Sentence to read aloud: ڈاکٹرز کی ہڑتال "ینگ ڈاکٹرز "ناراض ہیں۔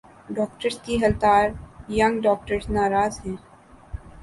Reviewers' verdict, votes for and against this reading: accepted, 3, 0